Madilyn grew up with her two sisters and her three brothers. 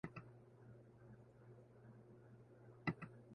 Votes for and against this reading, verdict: 0, 2, rejected